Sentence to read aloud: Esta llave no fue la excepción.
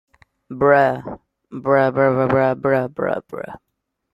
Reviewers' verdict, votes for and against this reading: rejected, 0, 2